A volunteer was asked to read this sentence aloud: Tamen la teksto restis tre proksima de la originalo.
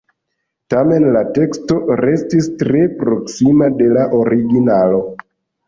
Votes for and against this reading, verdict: 2, 0, accepted